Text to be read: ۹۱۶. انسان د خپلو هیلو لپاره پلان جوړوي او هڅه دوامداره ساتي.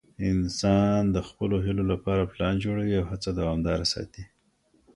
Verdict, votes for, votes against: rejected, 0, 2